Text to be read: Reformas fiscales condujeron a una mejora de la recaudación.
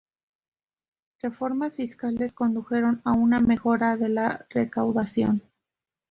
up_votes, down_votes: 2, 0